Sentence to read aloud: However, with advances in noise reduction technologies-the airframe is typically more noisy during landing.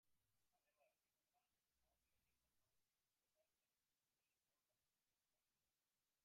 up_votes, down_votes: 0, 2